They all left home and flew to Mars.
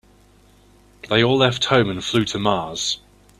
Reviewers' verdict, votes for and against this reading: accepted, 2, 0